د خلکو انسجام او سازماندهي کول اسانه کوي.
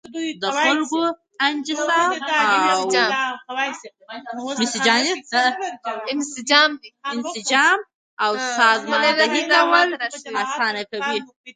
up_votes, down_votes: 0, 2